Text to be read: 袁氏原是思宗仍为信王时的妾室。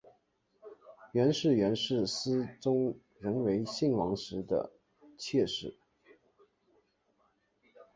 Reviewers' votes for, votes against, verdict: 7, 1, accepted